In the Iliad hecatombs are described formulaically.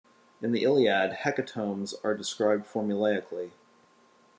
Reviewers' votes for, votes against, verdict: 2, 0, accepted